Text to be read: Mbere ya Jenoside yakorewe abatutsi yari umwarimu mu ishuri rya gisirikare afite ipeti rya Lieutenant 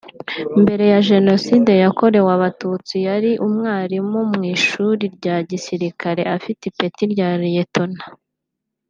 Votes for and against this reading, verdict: 2, 0, accepted